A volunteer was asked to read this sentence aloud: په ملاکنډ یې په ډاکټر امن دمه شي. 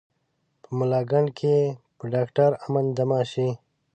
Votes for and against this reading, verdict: 2, 0, accepted